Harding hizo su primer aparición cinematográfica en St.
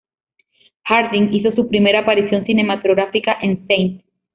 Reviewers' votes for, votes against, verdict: 2, 1, accepted